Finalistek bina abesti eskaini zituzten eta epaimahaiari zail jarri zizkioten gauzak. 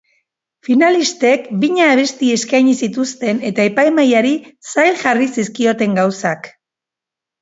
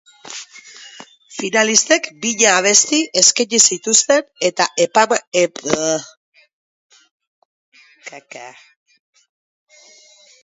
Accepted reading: first